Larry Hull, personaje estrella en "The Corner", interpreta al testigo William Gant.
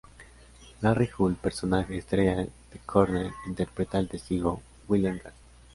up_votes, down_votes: 2, 1